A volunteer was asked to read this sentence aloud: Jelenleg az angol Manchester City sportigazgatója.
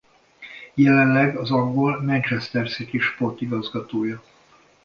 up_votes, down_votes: 2, 0